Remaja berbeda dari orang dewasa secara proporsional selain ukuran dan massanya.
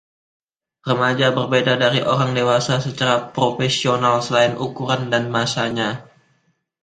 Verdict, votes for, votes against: rejected, 1, 2